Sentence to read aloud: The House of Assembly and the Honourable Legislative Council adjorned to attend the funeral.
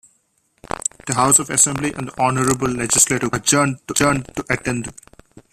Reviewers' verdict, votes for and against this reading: rejected, 0, 2